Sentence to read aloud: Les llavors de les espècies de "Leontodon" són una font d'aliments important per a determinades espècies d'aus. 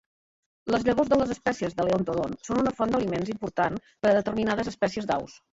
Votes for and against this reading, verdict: 1, 2, rejected